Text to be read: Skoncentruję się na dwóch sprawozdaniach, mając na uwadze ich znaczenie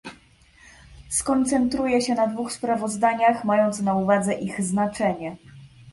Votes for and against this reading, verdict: 2, 0, accepted